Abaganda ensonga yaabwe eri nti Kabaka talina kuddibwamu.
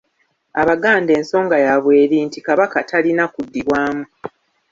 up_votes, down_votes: 1, 2